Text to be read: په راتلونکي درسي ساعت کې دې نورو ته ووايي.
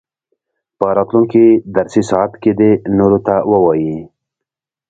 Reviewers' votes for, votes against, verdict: 2, 1, accepted